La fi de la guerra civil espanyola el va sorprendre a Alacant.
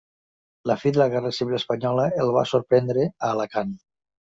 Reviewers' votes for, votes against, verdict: 3, 0, accepted